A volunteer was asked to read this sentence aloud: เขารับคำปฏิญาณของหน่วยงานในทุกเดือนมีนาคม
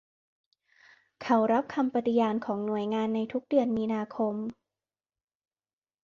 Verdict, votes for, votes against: accepted, 2, 0